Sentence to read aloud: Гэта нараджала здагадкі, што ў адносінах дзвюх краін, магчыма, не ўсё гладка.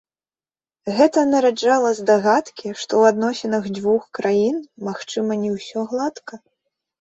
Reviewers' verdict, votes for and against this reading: accepted, 2, 0